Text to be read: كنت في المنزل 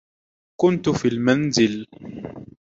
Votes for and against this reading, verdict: 2, 0, accepted